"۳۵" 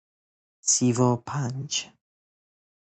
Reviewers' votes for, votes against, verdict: 0, 2, rejected